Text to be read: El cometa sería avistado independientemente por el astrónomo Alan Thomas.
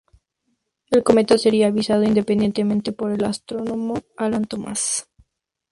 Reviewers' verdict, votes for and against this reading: rejected, 0, 2